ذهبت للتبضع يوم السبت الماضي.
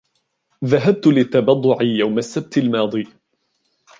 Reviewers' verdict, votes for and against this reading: rejected, 0, 2